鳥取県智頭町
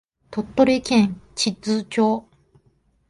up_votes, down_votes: 3, 1